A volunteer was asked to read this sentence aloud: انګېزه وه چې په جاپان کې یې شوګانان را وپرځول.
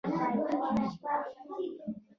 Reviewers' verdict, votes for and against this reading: rejected, 0, 2